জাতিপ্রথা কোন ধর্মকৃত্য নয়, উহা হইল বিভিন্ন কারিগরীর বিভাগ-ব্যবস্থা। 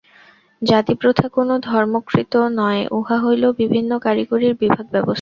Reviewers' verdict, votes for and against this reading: rejected, 0, 2